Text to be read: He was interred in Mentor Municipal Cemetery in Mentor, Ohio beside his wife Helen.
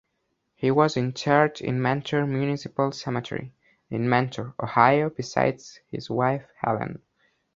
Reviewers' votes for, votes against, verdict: 1, 2, rejected